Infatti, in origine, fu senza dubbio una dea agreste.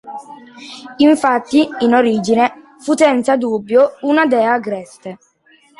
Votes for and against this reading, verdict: 2, 1, accepted